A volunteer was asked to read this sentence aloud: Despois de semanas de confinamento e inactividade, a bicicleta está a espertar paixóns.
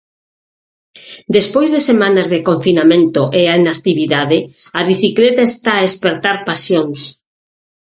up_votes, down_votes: 0, 6